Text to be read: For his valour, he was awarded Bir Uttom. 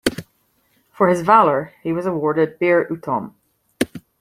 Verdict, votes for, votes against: accepted, 2, 0